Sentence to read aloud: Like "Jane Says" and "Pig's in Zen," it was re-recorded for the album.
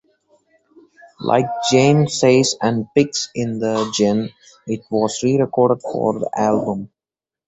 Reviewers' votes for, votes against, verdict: 0, 2, rejected